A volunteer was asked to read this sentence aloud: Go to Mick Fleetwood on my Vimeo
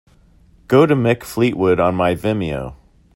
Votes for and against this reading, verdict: 2, 0, accepted